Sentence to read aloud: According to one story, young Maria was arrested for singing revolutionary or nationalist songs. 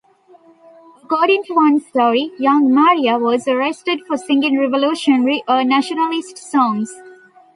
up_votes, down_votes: 0, 2